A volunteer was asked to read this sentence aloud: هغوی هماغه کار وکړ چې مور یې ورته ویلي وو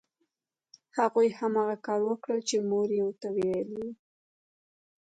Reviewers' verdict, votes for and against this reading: rejected, 1, 2